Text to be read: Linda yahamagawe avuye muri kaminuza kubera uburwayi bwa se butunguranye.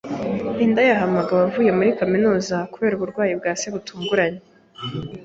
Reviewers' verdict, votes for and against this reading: accepted, 2, 0